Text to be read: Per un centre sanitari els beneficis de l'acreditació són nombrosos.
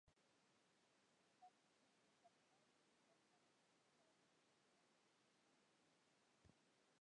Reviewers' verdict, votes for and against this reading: rejected, 0, 2